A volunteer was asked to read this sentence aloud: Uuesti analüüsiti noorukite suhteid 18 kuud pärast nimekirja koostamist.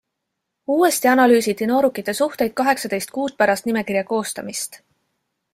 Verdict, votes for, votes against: rejected, 0, 2